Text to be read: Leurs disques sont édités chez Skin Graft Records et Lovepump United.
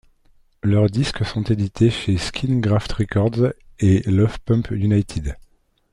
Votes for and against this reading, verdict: 0, 2, rejected